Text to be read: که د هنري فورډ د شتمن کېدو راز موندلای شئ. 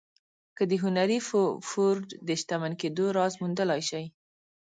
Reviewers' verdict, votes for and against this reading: rejected, 1, 2